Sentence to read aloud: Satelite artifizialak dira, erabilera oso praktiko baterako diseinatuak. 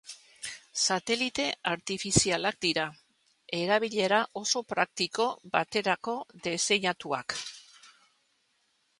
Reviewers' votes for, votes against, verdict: 0, 2, rejected